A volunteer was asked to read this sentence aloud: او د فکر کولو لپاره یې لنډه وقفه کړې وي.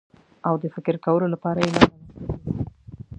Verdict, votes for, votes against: rejected, 0, 2